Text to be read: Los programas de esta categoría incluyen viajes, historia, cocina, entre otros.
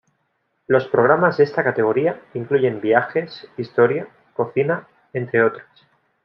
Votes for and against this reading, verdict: 2, 0, accepted